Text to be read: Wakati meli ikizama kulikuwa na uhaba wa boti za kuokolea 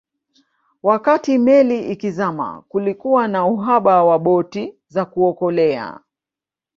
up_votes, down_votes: 1, 2